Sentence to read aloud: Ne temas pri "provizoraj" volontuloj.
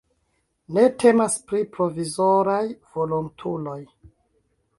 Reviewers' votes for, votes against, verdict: 2, 1, accepted